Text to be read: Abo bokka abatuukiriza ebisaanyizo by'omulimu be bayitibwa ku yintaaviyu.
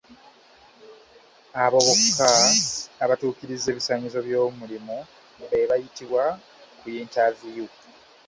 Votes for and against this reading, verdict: 0, 2, rejected